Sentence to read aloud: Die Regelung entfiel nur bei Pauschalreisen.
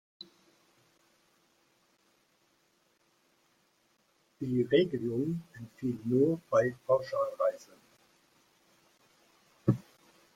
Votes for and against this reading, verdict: 1, 2, rejected